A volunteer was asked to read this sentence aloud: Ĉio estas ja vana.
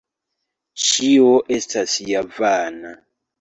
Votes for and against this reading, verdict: 2, 1, accepted